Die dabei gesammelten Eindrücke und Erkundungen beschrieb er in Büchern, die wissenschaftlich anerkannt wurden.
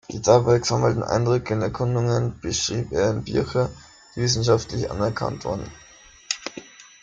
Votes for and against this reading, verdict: 0, 2, rejected